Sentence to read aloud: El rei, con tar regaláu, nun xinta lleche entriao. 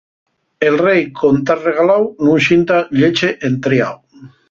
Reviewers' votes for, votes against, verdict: 2, 2, rejected